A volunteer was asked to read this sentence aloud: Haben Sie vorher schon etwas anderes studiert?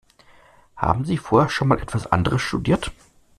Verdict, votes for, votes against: rejected, 1, 2